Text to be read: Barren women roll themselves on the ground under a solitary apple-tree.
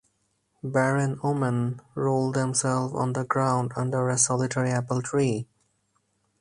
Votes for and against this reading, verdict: 0, 4, rejected